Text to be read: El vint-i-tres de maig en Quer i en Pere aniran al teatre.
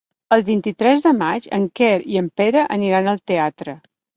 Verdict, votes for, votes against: accepted, 4, 0